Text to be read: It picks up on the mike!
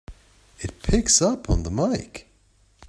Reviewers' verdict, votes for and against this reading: accepted, 3, 0